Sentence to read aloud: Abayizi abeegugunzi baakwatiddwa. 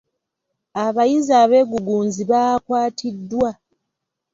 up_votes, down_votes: 2, 0